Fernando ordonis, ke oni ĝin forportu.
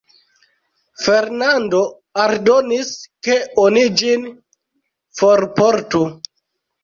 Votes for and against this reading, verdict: 0, 2, rejected